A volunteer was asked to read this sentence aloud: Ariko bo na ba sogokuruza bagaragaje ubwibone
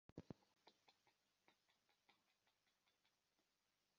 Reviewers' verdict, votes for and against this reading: rejected, 1, 2